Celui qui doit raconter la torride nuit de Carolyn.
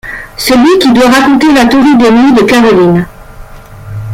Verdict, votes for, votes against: rejected, 1, 2